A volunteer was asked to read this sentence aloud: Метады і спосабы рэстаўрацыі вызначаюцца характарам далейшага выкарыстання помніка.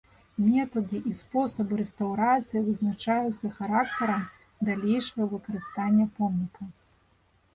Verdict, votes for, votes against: accepted, 2, 0